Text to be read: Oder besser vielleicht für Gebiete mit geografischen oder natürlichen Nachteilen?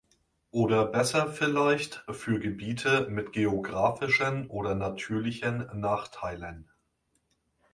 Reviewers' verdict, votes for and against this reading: accepted, 2, 0